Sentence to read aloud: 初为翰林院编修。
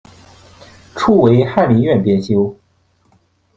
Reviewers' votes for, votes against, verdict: 2, 1, accepted